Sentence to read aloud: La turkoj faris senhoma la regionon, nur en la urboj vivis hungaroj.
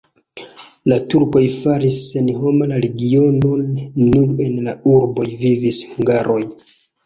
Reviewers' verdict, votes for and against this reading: rejected, 0, 2